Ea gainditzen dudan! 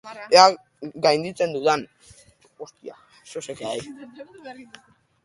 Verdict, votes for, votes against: rejected, 2, 3